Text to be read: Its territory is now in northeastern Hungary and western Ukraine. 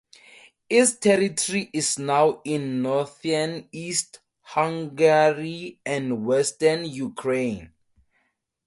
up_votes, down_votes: 0, 2